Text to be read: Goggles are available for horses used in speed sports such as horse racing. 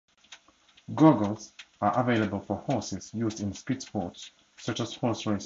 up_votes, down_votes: 0, 2